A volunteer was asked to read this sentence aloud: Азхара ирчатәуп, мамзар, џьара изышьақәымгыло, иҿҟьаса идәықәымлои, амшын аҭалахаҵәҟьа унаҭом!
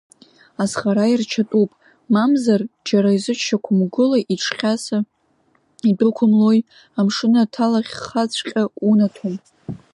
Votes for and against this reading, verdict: 1, 2, rejected